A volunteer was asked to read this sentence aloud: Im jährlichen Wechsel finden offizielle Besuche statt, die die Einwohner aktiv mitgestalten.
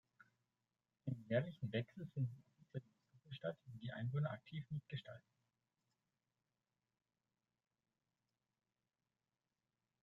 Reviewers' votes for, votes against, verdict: 0, 2, rejected